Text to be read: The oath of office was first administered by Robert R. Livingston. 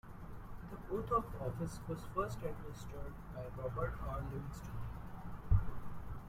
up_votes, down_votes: 1, 2